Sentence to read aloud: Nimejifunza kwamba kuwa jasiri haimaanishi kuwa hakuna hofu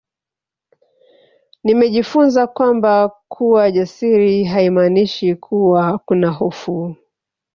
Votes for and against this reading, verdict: 2, 3, rejected